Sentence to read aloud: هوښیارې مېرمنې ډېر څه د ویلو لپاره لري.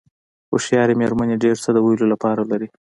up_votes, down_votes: 2, 0